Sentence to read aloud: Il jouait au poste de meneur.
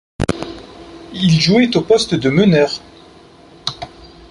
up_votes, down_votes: 2, 0